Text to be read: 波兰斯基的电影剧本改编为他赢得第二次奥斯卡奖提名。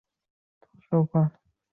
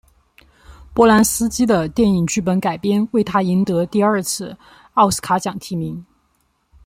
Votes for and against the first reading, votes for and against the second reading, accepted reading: 0, 2, 2, 0, second